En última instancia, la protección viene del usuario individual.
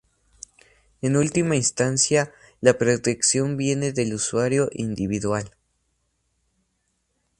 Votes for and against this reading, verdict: 0, 2, rejected